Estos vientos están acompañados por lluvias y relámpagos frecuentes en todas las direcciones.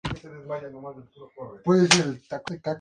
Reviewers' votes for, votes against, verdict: 0, 2, rejected